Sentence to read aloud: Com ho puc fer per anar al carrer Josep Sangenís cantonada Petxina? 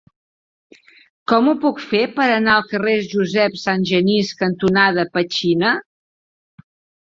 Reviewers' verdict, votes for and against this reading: accepted, 2, 0